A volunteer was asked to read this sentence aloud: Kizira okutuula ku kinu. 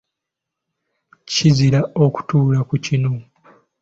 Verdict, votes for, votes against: accepted, 2, 0